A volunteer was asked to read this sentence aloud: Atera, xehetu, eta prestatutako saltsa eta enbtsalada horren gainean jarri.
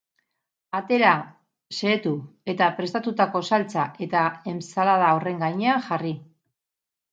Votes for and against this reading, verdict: 2, 0, accepted